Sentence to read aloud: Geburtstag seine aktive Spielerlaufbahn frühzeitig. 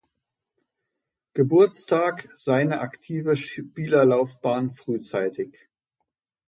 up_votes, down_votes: 2, 0